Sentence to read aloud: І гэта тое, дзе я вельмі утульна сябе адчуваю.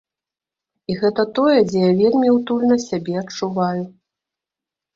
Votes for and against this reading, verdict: 2, 0, accepted